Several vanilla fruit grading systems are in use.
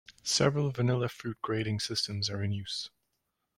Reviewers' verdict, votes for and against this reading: accepted, 2, 0